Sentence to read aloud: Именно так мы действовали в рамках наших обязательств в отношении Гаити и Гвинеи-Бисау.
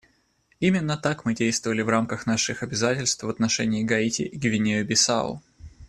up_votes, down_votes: 2, 0